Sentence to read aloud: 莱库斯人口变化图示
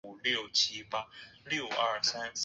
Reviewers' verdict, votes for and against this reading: rejected, 0, 3